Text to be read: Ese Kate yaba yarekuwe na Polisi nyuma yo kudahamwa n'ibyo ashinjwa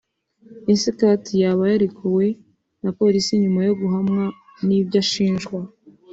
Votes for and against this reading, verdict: 1, 2, rejected